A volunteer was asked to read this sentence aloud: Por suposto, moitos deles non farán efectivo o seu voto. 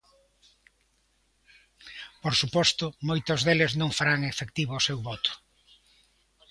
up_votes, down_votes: 2, 1